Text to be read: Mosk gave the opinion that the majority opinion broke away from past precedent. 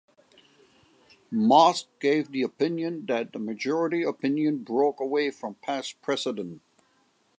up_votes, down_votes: 2, 0